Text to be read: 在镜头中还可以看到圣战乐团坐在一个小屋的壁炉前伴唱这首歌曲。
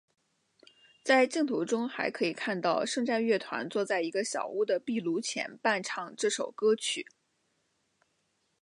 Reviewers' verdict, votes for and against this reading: accepted, 2, 0